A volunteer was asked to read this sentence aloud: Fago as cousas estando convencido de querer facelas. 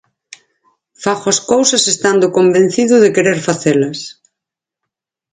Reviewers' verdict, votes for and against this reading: accepted, 6, 0